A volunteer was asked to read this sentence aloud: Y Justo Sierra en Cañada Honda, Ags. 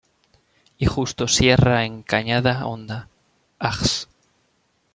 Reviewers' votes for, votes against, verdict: 2, 0, accepted